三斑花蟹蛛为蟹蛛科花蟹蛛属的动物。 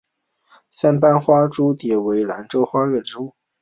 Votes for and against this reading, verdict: 0, 2, rejected